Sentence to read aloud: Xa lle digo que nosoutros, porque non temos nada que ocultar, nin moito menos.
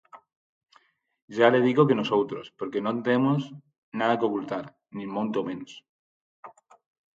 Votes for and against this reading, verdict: 0, 4, rejected